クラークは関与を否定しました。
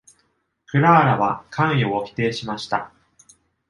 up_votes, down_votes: 1, 2